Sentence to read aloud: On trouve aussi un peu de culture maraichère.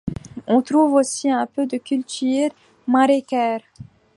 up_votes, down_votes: 2, 1